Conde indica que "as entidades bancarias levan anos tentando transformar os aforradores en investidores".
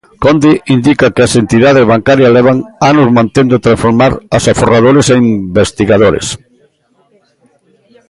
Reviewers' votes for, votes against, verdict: 0, 2, rejected